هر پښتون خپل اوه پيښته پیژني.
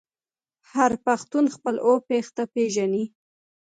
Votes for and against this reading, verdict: 1, 2, rejected